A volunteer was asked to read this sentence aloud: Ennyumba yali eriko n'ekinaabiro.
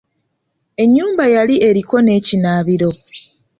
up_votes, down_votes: 2, 0